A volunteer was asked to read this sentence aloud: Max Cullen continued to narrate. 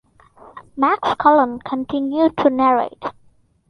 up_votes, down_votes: 2, 1